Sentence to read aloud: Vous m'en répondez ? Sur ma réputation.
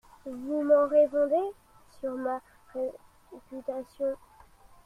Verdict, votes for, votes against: rejected, 0, 2